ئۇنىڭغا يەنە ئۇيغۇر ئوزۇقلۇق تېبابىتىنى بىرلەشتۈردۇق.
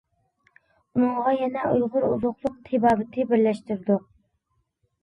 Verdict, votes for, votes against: accepted, 3, 2